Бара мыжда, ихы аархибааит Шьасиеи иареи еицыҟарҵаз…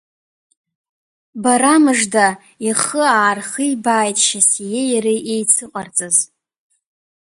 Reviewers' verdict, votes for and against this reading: accepted, 2, 0